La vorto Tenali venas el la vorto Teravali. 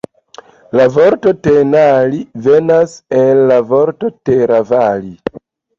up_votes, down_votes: 0, 2